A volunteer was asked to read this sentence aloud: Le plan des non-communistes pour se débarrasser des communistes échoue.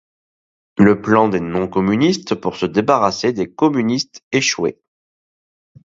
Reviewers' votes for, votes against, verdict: 0, 2, rejected